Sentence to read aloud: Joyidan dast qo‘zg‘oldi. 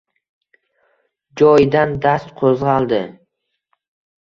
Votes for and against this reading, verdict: 2, 0, accepted